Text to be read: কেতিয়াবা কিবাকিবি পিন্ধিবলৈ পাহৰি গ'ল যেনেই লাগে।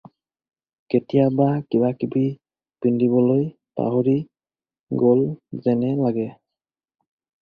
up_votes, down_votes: 4, 0